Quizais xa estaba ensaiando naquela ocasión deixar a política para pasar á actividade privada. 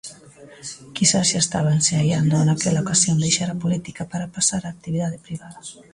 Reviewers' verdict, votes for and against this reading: accepted, 2, 1